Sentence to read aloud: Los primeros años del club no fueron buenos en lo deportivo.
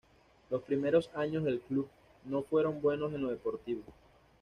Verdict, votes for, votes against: accepted, 2, 0